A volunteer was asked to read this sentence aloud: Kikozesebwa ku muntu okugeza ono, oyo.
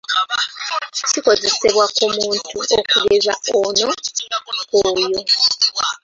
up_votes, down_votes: 1, 2